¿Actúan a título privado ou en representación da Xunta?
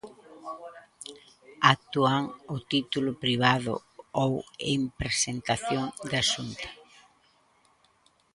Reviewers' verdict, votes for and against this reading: rejected, 0, 2